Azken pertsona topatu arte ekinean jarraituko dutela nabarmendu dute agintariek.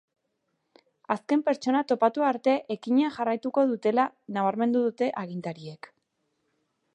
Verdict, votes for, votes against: rejected, 0, 2